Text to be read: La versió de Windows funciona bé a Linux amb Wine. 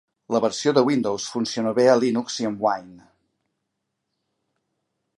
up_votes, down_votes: 1, 2